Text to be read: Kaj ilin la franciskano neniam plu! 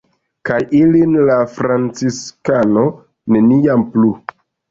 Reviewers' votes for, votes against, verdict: 1, 2, rejected